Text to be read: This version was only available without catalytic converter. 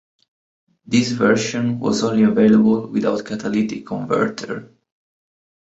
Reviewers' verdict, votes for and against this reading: accepted, 2, 1